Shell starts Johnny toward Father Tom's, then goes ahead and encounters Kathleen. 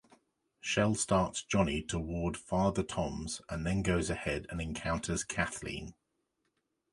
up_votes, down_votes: 0, 2